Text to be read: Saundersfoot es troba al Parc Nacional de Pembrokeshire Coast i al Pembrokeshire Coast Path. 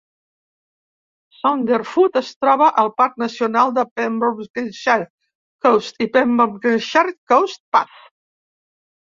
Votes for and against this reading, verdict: 1, 2, rejected